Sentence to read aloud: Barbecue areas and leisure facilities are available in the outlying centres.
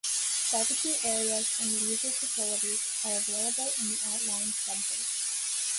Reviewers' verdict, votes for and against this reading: rejected, 1, 2